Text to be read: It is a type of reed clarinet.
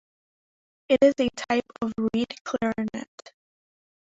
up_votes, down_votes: 1, 2